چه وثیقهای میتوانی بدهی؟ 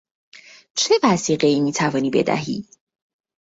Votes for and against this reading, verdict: 2, 0, accepted